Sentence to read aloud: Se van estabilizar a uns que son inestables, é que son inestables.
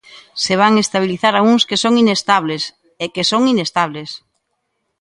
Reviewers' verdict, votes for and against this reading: accepted, 2, 0